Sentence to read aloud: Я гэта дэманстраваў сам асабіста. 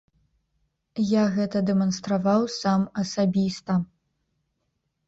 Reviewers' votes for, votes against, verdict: 2, 0, accepted